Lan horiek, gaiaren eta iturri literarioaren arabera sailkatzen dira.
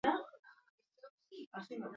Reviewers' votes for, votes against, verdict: 0, 4, rejected